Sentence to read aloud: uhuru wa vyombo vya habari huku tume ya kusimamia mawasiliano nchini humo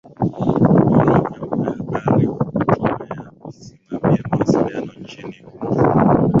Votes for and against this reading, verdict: 0, 2, rejected